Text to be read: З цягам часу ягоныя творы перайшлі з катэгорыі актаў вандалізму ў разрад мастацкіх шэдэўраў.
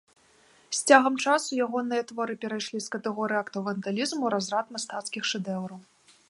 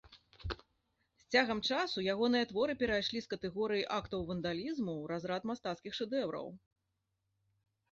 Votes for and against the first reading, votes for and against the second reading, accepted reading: 1, 2, 2, 0, second